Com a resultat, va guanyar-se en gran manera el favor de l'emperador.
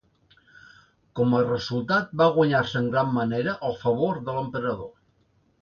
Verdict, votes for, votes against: accepted, 2, 0